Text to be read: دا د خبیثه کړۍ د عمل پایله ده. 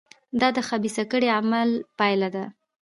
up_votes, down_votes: 1, 2